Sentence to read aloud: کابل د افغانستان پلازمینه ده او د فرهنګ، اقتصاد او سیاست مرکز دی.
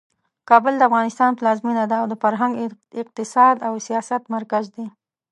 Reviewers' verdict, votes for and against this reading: accepted, 2, 0